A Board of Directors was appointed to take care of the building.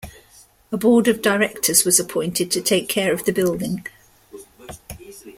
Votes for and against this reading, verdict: 1, 2, rejected